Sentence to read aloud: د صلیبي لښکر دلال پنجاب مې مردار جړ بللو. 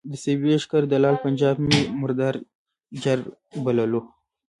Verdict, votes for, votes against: rejected, 0, 2